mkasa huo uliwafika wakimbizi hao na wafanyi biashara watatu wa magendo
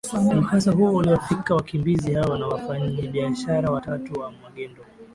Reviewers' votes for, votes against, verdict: 1, 2, rejected